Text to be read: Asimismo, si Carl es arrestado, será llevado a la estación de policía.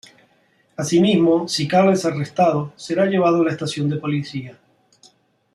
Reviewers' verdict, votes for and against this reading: accepted, 2, 0